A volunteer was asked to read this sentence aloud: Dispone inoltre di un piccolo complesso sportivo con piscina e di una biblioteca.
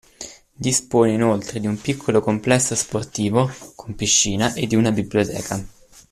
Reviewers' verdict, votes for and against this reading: accepted, 2, 0